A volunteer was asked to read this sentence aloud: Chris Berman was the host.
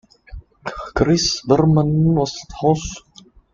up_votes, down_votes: 0, 2